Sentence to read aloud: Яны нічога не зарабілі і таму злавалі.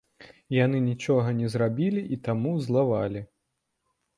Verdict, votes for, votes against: rejected, 1, 2